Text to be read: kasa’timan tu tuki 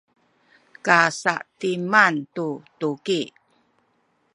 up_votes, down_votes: 2, 0